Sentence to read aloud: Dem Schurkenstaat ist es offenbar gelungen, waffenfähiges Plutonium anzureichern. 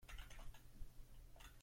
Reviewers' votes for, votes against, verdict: 0, 3, rejected